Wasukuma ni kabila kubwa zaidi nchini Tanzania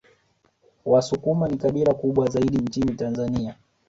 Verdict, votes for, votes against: rejected, 0, 2